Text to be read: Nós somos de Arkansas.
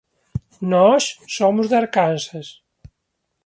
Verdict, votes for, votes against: accepted, 2, 0